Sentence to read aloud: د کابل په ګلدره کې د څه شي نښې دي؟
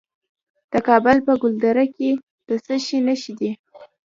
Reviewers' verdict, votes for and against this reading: accepted, 2, 0